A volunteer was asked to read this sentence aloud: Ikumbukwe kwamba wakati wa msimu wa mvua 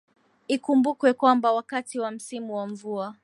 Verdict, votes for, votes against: accepted, 3, 0